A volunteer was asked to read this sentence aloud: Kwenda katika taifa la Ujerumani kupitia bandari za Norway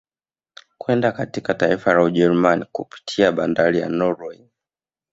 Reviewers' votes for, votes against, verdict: 0, 2, rejected